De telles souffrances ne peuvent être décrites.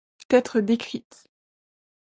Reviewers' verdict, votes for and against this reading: rejected, 0, 2